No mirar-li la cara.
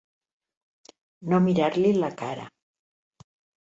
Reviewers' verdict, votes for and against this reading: accepted, 2, 0